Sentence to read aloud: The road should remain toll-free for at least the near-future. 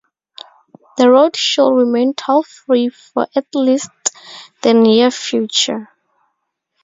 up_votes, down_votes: 2, 0